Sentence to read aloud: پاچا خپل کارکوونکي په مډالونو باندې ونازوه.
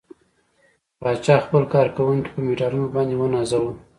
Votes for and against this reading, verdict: 1, 2, rejected